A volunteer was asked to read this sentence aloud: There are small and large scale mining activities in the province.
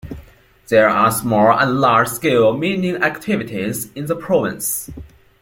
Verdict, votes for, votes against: rejected, 0, 2